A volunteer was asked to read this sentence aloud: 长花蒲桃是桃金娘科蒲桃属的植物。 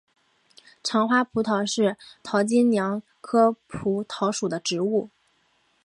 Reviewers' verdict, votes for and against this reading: accepted, 3, 2